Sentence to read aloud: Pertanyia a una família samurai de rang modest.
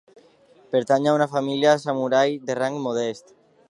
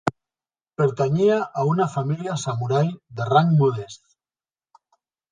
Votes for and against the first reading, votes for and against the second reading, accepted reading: 1, 2, 2, 0, second